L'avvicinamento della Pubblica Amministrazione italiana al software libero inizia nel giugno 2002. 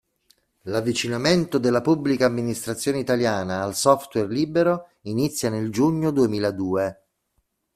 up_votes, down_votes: 0, 2